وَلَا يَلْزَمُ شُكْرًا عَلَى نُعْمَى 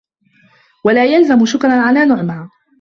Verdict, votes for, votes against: accepted, 2, 1